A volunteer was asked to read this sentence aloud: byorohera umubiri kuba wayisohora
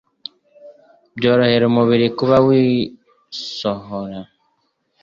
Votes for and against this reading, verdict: 0, 2, rejected